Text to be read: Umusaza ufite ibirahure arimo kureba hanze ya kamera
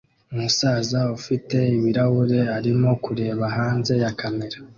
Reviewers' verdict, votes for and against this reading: accepted, 2, 0